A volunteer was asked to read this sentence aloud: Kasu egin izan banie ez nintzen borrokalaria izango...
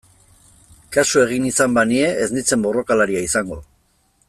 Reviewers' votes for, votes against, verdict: 2, 0, accepted